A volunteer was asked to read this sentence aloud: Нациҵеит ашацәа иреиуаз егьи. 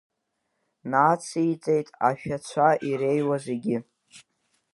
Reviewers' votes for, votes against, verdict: 0, 2, rejected